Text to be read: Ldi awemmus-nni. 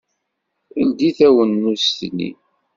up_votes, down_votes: 1, 2